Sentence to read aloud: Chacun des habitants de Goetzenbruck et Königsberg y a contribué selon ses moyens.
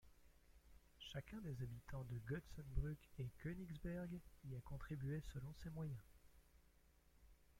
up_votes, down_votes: 0, 2